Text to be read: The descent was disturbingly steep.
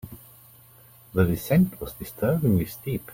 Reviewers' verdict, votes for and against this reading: accepted, 2, 1